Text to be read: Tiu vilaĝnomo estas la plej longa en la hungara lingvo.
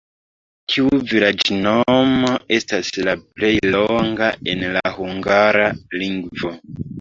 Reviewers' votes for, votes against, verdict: 1, 2, rejected